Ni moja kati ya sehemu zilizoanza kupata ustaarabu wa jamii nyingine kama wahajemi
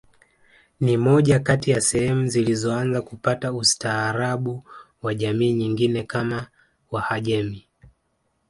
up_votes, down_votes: 2, 0